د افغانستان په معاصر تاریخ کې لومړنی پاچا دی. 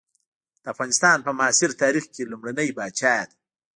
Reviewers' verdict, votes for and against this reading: rejected, 1, 2